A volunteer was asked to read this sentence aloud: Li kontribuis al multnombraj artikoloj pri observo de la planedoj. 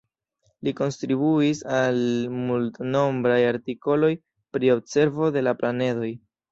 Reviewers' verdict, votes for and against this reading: rejected, 1, 2